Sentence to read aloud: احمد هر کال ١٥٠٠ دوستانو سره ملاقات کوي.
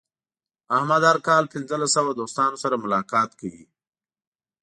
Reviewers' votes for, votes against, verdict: 0, 2, rejected